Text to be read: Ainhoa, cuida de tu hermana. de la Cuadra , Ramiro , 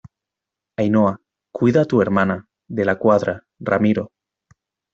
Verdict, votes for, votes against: rejected, 0, 2